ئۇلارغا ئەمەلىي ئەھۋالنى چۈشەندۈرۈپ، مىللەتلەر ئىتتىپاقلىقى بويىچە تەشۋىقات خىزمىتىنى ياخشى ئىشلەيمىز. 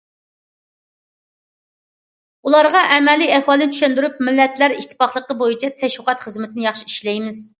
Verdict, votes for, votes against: accepted, 2, 0